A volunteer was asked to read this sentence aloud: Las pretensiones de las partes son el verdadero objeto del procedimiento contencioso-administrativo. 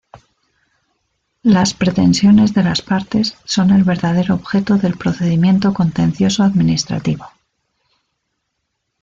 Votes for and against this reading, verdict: 3, 1, accepted